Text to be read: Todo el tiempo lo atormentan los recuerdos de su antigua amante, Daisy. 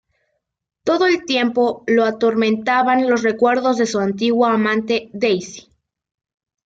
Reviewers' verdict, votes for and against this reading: accepted, 2, 0